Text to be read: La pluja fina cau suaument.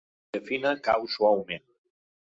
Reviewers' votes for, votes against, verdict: 0, 2, rejected